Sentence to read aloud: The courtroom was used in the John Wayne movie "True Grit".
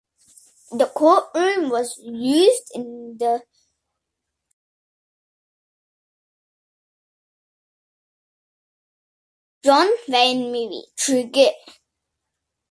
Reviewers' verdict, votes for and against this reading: rejected, 0, 2